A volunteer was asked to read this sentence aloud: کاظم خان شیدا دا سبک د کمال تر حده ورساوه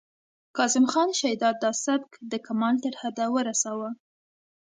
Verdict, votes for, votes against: accepted, 2, 0